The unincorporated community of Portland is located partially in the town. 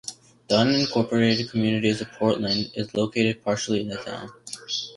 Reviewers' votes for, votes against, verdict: 2, 1, accepted